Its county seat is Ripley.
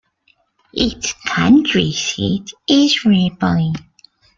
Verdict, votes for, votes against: accepted, 2, 0